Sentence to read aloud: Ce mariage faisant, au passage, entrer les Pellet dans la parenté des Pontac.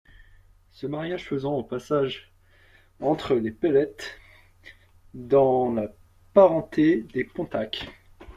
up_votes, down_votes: 0, 2